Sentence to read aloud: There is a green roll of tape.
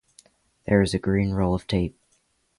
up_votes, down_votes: 3, 0